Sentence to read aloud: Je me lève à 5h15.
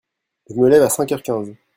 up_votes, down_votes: 0, 2